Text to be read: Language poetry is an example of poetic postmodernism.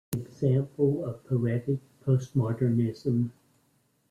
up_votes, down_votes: 0, 2